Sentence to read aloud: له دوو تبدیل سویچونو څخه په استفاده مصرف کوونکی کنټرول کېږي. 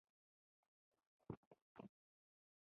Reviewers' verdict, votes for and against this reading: rejected, 0, 2